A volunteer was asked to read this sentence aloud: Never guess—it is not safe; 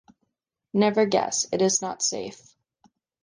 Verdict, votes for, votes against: accepted, 2, 0